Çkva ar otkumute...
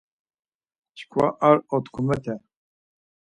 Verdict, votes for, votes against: rejected, 2, 4